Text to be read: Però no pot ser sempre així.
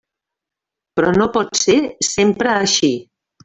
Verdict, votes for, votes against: accepted, 3, 0